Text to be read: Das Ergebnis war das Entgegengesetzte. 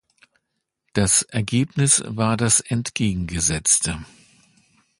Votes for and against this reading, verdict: 2, 0, accepted